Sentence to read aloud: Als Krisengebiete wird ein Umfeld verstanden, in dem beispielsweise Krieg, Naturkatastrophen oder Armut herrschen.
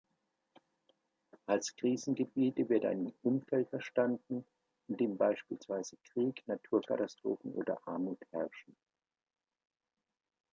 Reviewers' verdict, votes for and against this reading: accepted, 2, 0